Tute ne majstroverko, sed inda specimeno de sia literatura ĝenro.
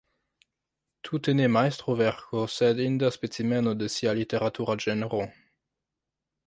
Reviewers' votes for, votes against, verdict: 0, 2, rejected